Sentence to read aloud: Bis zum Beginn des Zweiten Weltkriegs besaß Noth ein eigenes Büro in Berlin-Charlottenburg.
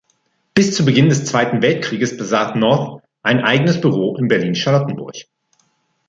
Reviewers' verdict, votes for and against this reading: rejected, 1, 2